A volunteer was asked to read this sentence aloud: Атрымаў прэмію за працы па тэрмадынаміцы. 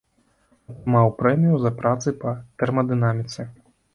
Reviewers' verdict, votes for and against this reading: rejected, 2, 3